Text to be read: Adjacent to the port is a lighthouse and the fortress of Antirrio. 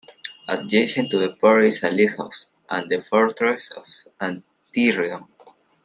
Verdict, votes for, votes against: rejected, 0, 2